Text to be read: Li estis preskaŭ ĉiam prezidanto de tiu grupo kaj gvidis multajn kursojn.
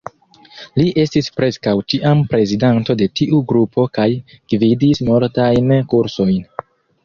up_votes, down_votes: 2, 0